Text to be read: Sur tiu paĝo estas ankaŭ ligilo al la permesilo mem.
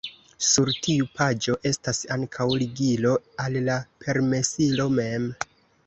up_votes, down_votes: 2, 0